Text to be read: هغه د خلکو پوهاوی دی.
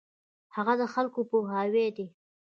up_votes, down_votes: 2, 1